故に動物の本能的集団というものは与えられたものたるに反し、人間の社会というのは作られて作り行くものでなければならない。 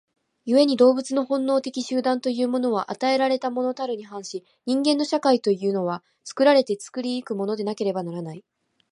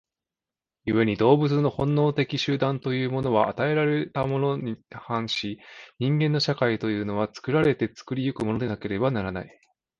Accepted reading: first